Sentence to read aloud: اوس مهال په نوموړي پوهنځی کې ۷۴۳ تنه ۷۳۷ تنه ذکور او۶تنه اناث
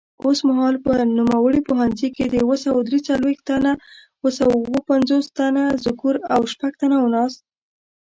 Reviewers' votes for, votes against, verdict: 0, 2, rejected